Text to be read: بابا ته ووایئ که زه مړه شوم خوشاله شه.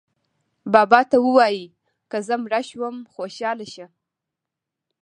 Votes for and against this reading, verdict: 0, 2, rejected